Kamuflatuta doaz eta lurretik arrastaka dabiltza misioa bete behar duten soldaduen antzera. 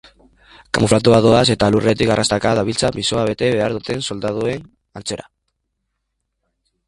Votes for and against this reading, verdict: 0, 3, rejected